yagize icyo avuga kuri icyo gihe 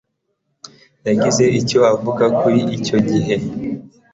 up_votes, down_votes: 2, 0